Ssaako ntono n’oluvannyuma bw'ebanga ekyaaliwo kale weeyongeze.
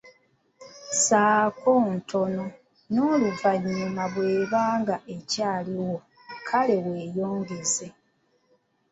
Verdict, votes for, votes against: accepted, 2, 0